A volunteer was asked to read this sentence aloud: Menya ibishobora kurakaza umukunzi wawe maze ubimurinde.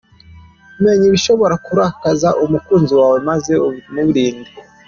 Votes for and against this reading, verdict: 2, 0, accepted